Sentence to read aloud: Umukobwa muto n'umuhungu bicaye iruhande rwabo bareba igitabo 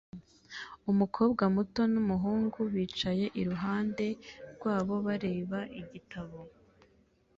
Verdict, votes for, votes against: accepted, 2, 0